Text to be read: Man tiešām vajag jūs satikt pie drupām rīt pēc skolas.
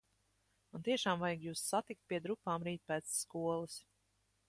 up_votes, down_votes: 1, 2